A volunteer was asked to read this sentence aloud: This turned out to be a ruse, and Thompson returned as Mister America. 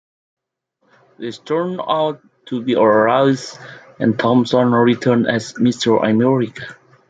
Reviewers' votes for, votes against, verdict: 2, 0, accepted